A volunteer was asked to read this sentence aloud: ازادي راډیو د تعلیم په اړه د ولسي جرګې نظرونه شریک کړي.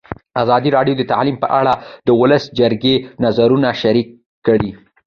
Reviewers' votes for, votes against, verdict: 1, 2, rejected